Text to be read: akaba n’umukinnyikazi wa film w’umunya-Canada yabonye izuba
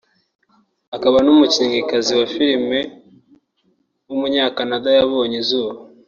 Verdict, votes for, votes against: accepted, 2, 0